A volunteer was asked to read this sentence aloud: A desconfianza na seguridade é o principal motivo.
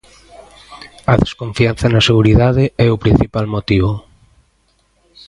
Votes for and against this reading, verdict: 2, 0, accepted